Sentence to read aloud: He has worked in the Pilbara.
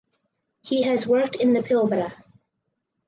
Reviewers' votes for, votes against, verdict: 4, 0, accepted